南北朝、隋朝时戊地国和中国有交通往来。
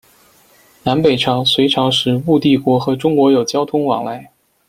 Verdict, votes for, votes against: accepted, 2, 0